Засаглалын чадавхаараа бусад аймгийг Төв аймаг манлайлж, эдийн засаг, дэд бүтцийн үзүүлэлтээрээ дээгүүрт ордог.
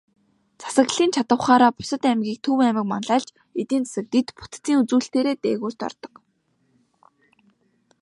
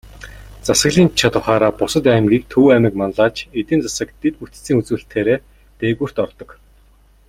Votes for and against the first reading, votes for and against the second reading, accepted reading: 3, 0, 1, 2, first